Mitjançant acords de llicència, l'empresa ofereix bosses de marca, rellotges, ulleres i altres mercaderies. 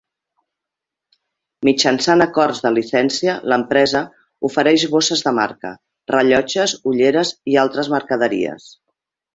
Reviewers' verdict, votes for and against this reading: rejected, 1, 2